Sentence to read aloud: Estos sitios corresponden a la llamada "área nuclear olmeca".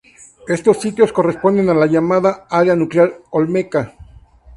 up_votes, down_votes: 2, 0